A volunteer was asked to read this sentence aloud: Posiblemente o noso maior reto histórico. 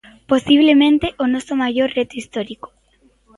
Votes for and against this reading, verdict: 2, 0, accepted